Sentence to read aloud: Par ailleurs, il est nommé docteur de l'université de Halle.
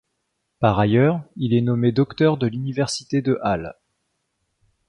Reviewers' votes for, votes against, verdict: 2, 0, accepted